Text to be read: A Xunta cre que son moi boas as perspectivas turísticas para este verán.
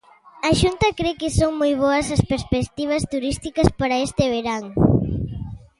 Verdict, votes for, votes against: rejected, 1, 2